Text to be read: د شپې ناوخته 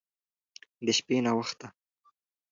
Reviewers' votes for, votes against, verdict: 2, 0, accepted